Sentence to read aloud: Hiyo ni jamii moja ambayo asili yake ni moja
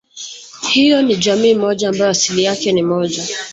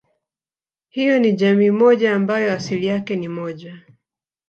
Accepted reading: first